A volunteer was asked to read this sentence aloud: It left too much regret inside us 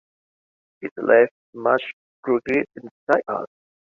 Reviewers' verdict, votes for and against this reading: rejected, 1, 2